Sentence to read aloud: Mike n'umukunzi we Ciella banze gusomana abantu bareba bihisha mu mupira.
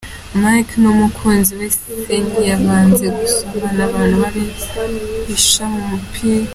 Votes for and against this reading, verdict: 1, 2, rejected